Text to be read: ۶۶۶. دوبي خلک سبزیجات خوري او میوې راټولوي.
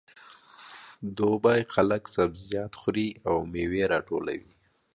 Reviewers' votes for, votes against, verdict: 0, 2, rejected